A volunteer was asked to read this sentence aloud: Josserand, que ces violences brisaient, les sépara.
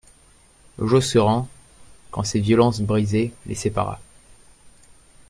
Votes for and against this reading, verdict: 0, 2, rejected